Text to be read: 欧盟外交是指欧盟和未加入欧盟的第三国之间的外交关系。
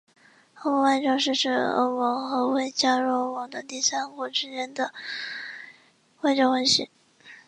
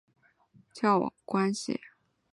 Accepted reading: first